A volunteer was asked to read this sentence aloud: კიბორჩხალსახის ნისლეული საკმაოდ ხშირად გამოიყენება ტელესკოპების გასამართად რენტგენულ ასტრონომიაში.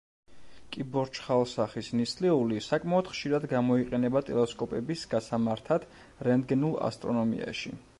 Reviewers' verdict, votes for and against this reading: accepted, 2, 0